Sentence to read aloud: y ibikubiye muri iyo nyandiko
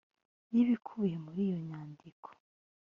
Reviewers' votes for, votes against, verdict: 0, 2, rejected